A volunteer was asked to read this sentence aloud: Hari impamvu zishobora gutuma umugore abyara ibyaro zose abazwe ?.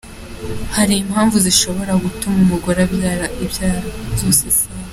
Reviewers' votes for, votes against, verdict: 0, 2, rejected